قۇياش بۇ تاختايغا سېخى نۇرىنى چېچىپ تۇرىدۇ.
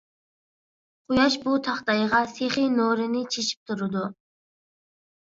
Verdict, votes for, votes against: accepted, 2, 0